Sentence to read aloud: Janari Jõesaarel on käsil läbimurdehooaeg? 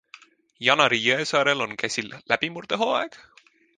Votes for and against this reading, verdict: 2, 0, accepted